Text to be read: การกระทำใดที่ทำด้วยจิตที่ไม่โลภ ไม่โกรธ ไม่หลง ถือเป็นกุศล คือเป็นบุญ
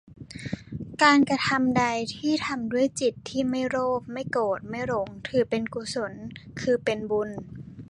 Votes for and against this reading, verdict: 2, 0, accepted